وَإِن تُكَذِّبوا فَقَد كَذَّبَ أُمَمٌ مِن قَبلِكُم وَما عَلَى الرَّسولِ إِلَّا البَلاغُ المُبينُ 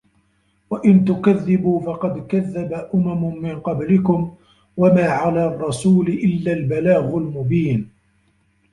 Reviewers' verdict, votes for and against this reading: rejected, 1, 2